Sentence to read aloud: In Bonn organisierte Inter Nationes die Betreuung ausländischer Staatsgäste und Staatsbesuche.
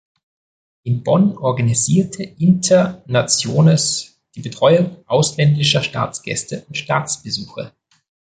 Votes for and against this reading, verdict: 1, 2, rejected